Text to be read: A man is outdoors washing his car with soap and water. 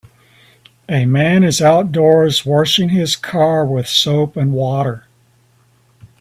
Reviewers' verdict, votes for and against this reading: accepted, 5, 0